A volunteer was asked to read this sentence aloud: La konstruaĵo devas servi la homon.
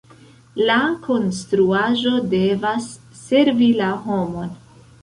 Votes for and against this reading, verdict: 2, 0, accepted